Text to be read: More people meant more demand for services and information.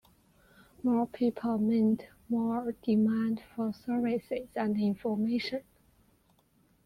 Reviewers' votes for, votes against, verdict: 2, 0, accepted